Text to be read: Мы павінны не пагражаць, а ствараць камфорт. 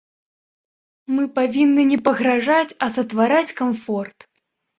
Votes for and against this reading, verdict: 1, 2, rejected